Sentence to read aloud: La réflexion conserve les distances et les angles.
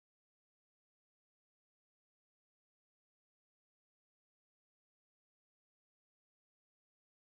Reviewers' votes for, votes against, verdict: 0, 2, rejected